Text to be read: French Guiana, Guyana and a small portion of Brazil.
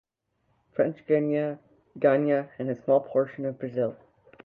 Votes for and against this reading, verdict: 0, 2, rejected